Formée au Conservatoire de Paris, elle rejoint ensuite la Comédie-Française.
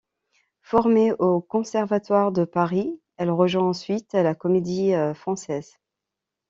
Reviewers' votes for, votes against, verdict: 2, 0, accepted